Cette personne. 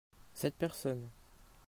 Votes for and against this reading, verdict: 2, 0, accepted